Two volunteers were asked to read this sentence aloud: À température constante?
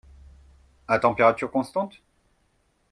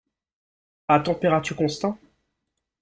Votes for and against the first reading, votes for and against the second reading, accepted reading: 2, 0, 1, 2, first